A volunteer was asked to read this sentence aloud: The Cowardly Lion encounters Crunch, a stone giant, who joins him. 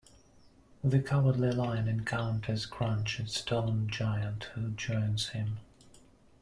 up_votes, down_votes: 2, 0